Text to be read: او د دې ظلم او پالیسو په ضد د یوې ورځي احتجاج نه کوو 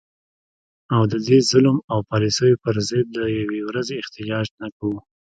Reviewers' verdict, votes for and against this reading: accepted, 2, 0